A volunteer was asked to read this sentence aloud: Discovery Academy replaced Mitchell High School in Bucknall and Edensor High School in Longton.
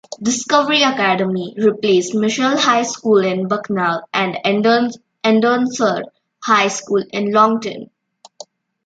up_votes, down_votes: 0, 2